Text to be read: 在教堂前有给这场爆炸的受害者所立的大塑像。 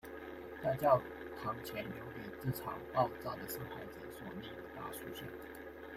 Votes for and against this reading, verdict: 1, 2, rejected